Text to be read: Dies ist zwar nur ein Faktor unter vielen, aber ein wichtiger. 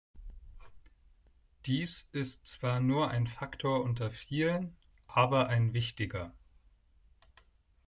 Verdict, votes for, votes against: accepted, 2, 0